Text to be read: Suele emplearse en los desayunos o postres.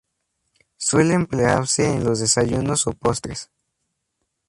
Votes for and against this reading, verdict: 0, 2, rejected